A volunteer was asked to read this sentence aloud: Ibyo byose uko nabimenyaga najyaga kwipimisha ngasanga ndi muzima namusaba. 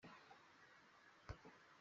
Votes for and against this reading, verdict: 0, 2, rejected